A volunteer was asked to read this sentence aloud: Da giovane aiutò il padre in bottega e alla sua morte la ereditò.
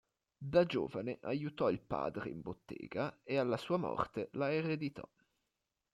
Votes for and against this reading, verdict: 2, 0, accepted